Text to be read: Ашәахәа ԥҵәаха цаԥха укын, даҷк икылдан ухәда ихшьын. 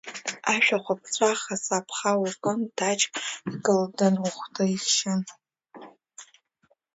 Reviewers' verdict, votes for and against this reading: accepted, 2, 0